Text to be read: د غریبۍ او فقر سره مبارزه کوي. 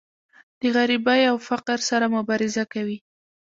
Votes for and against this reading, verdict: 0, 2, rejected